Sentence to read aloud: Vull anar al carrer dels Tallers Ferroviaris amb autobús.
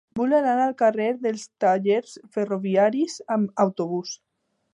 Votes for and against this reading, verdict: 3, 0, accepted